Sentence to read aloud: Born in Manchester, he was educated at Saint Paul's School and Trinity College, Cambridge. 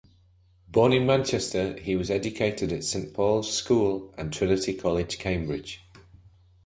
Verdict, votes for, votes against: accepted, 2, 0